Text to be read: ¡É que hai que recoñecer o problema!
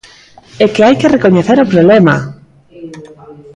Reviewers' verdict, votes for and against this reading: accepted, 2, 0